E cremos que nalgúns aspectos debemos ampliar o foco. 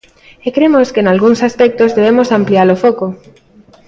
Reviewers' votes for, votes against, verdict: 2, 0, accepted